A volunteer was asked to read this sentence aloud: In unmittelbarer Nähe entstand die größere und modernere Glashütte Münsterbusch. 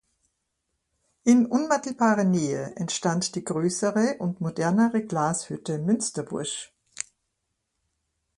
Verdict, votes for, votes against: accepted, 2, 0